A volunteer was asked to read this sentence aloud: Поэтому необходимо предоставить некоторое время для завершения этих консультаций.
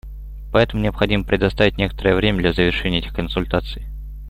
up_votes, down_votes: 2, 0